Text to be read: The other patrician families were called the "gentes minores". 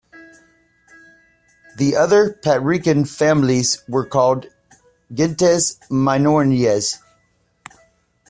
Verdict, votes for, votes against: rejected, 0, 2